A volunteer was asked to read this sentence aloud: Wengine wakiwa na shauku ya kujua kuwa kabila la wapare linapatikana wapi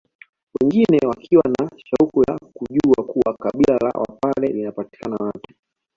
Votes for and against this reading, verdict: 2, 0, accepted